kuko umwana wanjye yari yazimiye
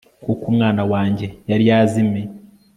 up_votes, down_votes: 2, 0